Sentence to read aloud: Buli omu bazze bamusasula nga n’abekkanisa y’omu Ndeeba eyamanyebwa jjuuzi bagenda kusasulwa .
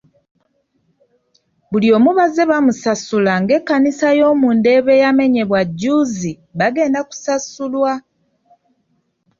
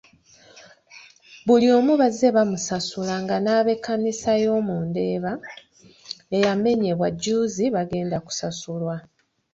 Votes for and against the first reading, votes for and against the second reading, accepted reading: 1, 2, 2, 0, second